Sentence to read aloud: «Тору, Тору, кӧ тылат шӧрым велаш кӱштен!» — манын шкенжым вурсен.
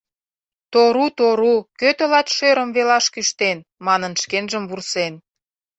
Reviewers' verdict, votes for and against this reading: accepted, 2, 0